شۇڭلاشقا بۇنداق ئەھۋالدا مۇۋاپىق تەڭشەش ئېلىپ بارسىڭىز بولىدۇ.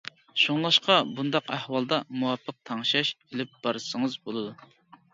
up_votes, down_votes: 2, 0